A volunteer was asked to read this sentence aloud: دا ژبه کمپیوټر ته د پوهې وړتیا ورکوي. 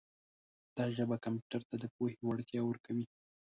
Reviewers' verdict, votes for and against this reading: rejected, 1, 2